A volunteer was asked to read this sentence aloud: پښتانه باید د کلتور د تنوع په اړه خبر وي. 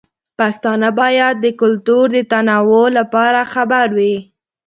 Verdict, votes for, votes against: rejected, 1, 2